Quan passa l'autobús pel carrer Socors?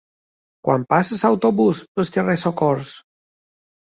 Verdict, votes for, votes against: rejected, 0, 2